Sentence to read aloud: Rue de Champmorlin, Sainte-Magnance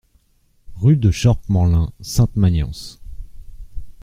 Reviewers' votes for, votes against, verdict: 0, 2, rejected